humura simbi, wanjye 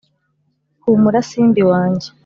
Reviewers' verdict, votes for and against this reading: rejected, 1, 2